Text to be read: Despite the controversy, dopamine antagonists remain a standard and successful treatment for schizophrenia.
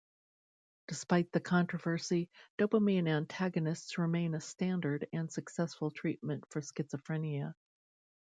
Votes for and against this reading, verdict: 2, 0, accepted